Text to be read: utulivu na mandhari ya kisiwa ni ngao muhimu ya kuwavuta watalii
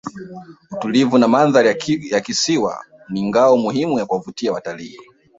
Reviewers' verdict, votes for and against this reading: rejected, 0, 2